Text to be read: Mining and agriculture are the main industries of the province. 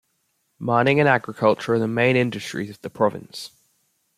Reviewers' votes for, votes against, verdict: 0, 2, rejected